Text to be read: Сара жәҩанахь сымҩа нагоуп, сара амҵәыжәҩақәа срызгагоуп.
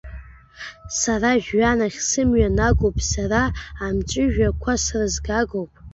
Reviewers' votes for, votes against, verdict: 1, 3, rejected